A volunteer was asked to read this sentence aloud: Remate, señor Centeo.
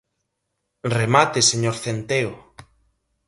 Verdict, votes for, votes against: accepted, 4, 0